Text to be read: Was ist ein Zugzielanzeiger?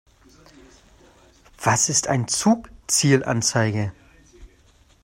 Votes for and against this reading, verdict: 0, 2, rejected